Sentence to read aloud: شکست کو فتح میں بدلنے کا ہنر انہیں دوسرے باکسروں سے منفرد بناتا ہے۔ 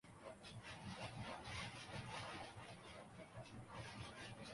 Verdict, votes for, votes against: rejected, 0, 2